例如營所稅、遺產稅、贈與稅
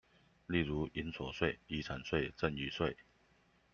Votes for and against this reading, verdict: 2, 0, accepted